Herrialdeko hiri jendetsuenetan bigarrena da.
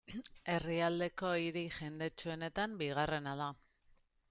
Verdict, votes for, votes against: accepted, 2, 0